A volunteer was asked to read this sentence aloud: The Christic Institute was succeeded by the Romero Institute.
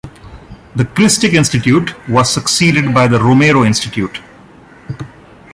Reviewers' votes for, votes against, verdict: 2, 1, accepted